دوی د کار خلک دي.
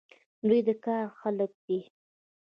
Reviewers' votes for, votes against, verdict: 1, 2, rejected